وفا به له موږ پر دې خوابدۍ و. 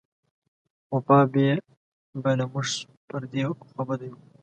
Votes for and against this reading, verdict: 2, 0, accepted